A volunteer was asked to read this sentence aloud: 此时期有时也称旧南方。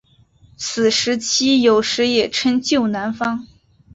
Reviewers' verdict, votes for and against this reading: accepted, 9, 1